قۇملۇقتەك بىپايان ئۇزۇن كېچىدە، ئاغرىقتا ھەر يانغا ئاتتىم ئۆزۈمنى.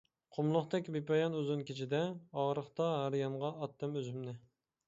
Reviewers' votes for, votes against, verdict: 2, 0, accepted